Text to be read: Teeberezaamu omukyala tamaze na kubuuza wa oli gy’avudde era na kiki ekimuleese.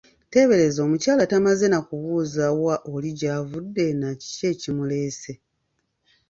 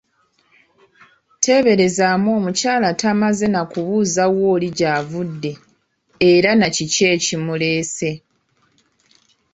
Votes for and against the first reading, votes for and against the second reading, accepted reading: 1, 2, 2, 1, second